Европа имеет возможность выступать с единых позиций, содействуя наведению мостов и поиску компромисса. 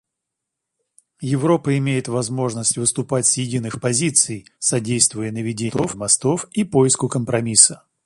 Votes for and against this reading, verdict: 0, 2, rejected